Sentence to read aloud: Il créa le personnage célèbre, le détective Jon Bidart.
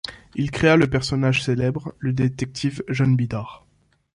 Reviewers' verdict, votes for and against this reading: accepted, 2, 0